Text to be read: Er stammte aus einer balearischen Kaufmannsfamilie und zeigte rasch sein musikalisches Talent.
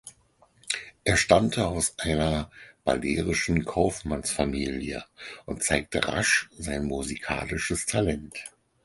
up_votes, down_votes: 0, 4